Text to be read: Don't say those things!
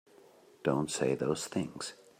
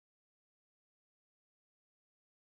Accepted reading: first